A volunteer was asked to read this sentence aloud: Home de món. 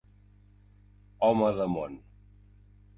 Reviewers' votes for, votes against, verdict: 3, 0, accepted